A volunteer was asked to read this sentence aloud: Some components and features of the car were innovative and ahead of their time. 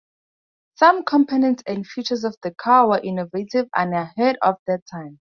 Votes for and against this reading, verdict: 4, 0, accepted